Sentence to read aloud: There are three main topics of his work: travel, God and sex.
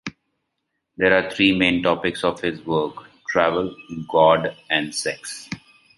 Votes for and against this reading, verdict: 2, 0, accepted